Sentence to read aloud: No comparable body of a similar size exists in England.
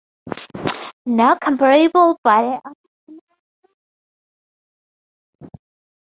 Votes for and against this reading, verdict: 0, 2, rejected